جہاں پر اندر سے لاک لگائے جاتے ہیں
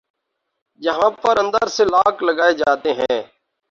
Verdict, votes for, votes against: accepted, 2, 0